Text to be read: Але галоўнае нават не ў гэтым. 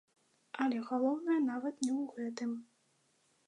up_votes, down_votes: 1, 2